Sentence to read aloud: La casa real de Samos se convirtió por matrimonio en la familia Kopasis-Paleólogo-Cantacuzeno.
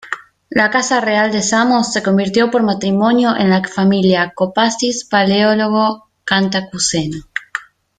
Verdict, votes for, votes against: rejected, 1, 2